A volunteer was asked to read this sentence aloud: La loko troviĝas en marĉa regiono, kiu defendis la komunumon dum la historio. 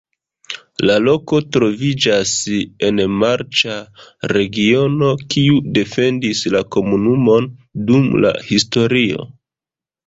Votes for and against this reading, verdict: 0, 2, rejected